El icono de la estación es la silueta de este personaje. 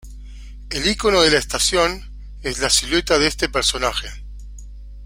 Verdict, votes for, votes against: rejected, 0, 2